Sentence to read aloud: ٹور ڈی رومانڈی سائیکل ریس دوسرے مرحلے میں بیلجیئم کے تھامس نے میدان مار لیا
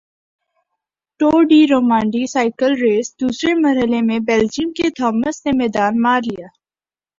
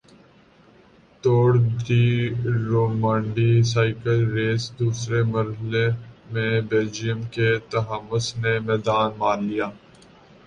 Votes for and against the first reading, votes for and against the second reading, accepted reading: 2, 0, 1, 2, first